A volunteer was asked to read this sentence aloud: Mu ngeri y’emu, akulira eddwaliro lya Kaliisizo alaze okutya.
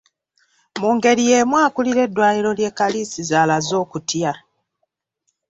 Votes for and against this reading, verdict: 0, 2, rejected